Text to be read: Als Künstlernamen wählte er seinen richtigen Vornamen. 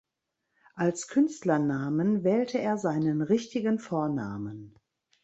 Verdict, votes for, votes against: accepted, 2, 0